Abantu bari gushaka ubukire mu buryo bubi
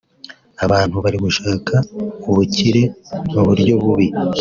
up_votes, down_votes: 2, 0